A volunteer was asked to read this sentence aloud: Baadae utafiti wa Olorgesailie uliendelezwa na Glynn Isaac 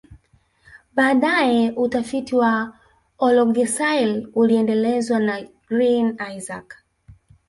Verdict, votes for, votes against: rejected, 0, 2